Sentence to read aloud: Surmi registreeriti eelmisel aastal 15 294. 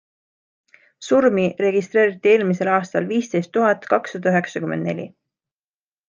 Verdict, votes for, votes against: rejected, 0, 2